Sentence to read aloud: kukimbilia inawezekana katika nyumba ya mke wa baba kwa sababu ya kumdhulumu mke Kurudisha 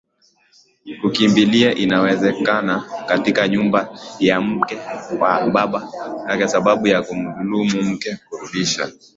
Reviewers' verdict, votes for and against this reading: accepted, 2, 0